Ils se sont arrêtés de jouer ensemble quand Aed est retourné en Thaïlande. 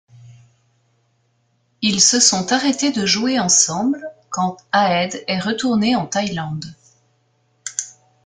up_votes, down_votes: 2, 0